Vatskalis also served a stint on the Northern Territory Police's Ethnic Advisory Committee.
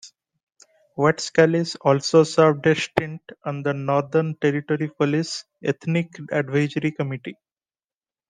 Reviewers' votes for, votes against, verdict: 1, 2, rejected